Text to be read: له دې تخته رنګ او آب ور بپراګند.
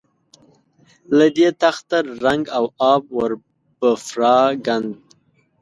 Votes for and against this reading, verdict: 1, 2, rejected